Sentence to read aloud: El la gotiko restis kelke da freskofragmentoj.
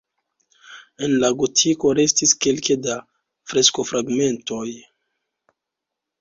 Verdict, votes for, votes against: accepted, 2, 0